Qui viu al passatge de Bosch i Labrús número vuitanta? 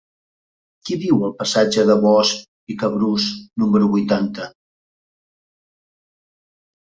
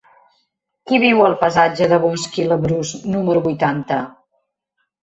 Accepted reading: second